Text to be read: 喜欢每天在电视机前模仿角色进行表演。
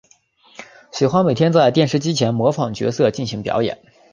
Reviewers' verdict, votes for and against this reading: accepted, 2, 0